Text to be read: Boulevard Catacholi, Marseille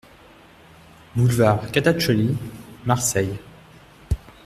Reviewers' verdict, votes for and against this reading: rejected, 0, 2